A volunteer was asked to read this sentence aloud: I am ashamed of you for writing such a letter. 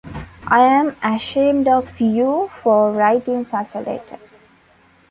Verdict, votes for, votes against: accepted, 2, 0